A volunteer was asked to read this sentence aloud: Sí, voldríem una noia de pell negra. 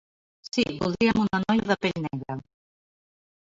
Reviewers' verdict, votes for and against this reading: accepted, 2, 0